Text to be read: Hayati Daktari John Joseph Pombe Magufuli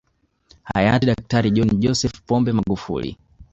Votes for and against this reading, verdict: 2, 0, accepted